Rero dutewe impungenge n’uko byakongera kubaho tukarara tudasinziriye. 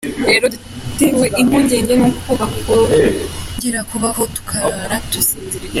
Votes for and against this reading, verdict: 0, 2, rejected